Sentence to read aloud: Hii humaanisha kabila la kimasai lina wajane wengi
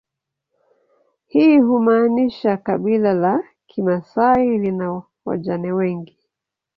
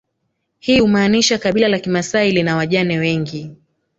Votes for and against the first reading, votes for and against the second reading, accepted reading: 1, 2, 4, 2, second